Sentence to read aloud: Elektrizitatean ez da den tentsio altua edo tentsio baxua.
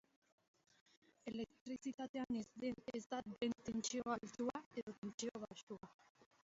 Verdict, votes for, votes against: rejected, 0, 2